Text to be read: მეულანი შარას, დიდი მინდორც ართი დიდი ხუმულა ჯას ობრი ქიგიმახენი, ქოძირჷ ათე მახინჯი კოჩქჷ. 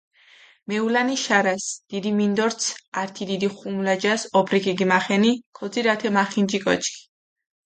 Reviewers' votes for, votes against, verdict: 2, 0, accepted